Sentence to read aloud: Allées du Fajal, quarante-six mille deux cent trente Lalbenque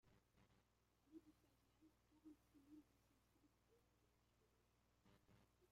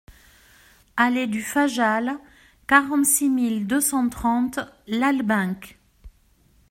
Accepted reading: second